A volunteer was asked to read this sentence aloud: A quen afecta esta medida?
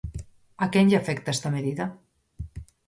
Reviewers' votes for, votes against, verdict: 0, 4, rejected